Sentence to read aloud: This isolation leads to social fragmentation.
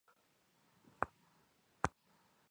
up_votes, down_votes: 0, 2